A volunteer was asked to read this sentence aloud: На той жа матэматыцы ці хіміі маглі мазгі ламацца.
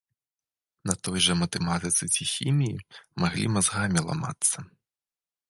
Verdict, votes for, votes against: rejected, 1, 2